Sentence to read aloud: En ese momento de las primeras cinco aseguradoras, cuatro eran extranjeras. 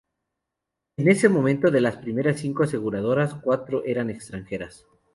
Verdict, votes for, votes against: accepted, 2, 0